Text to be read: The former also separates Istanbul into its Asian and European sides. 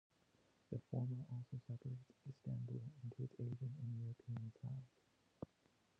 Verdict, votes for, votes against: rejected, 0, 2